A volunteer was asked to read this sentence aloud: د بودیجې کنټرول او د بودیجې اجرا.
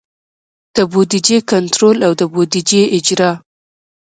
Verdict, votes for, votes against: accepted, 2, 0